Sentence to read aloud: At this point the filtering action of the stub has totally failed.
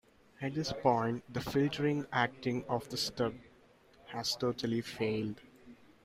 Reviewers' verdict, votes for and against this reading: rejected, 0, 2